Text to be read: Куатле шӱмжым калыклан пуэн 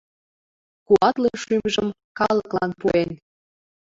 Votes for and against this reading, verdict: 2, 0, accepted